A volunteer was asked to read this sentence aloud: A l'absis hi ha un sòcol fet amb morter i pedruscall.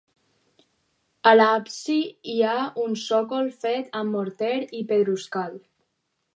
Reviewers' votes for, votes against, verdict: 2, 4, rejected